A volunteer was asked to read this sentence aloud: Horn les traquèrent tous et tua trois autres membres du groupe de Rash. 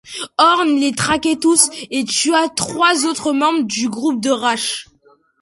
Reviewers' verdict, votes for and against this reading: rejected, 1, 2